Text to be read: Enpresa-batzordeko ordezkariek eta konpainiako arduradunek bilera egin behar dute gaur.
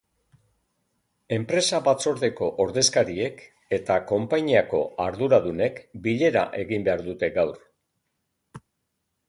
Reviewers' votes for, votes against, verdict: 3, 0, accepted